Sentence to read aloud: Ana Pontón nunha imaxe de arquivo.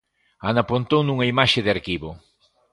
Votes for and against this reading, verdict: 2, 0, accepted